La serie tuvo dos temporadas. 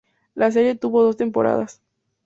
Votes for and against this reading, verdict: 2, 0, accepted